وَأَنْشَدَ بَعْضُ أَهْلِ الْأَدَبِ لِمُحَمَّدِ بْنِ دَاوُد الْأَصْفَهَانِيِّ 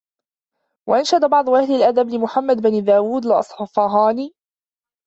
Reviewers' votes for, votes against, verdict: 1, 2, rejected